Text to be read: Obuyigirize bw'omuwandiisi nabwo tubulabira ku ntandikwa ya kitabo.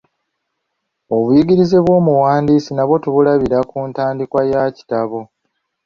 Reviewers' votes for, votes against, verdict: 2, 0, accepted